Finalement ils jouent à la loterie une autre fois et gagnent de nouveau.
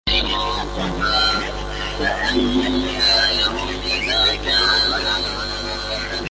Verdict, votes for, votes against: rejected, 0, 2